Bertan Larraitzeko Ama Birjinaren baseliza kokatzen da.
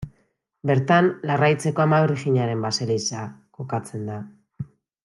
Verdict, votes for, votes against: accepted, 2, 0